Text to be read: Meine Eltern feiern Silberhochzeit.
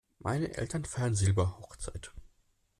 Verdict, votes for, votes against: accepted, 2, 0